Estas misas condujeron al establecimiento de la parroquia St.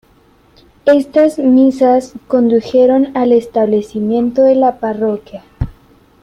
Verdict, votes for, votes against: rejected, 1, 2